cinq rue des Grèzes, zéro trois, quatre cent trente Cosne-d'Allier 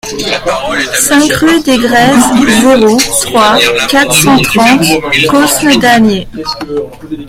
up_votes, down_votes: 0, 2